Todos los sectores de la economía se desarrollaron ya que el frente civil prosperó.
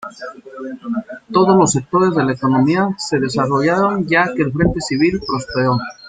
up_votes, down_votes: 2, 0